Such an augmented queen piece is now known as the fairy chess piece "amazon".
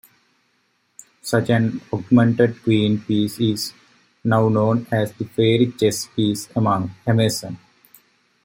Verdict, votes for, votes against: rejected, 0, 2